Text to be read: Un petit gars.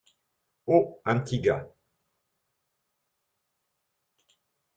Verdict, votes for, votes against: rejected, 0, 2